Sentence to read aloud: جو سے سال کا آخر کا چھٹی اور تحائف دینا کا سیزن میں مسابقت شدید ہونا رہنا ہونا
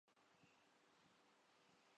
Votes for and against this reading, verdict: 0, 2, rejected